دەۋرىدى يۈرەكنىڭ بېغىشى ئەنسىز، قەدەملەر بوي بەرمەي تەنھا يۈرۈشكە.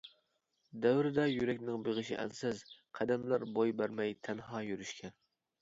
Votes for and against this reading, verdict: 1, 2, rejected